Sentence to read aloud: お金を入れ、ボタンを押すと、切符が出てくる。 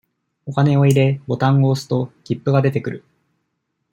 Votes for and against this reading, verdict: 2, 0, accepted